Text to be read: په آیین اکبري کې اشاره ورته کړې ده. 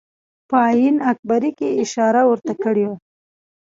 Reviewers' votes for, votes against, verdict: 1, 2, rejected